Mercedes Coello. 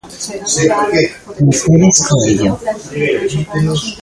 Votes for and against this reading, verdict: 0, 2, rejected